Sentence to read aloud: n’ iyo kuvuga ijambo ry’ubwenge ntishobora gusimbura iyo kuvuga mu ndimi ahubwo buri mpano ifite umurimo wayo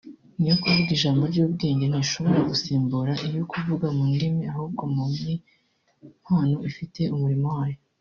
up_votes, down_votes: 3, 0